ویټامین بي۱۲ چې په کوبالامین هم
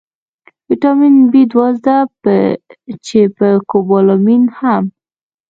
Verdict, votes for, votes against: rejected, 0, 2